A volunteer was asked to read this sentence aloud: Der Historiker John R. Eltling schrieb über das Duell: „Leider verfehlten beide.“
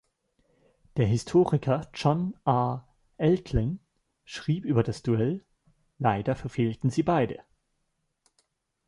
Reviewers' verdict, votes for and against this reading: rejected, 0, 2